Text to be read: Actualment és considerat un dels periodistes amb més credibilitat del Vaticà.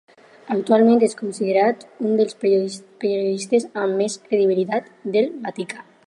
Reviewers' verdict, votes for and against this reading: accepted, 4, 2